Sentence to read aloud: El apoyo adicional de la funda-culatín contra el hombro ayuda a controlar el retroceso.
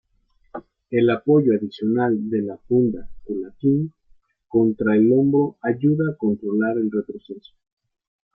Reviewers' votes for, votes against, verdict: 0, 2, rejected